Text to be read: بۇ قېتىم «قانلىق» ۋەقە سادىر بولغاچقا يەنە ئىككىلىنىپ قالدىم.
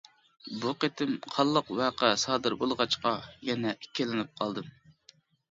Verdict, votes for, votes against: accepted, 2, 0